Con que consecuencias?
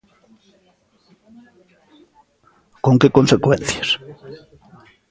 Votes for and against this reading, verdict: 2, 0, accepted